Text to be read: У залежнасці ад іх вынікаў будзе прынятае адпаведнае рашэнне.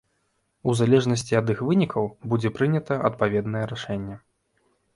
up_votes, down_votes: 0, 2